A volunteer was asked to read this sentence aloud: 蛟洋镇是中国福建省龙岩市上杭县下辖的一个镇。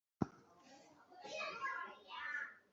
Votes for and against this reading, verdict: 3, 1, accepted